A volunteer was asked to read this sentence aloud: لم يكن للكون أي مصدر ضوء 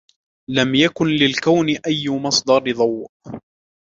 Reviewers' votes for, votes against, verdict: 2, 0, accepted